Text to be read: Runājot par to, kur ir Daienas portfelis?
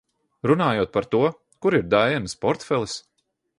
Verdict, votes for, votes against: accepted, 2, 0